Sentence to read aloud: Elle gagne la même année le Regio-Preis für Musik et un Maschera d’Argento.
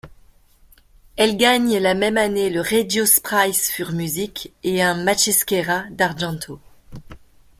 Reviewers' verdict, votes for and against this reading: accepted, 2, 1